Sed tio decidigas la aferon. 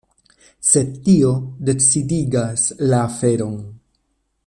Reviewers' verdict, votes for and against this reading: accepted, 2, 0